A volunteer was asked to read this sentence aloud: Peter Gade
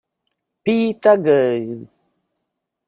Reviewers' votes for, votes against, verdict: 1, 3, rejected